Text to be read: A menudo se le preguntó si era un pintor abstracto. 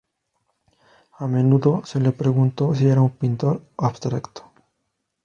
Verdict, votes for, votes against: accepted, 4, 0